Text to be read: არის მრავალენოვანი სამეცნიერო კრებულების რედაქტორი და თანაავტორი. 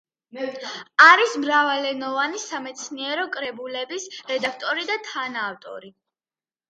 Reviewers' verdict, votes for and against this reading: accepted, 2, 1